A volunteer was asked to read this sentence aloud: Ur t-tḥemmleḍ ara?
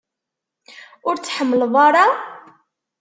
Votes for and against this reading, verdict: 2, 0, accepted